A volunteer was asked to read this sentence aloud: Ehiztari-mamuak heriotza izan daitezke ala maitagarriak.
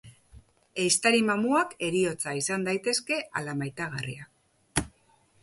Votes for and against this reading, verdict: 2, 0, accepted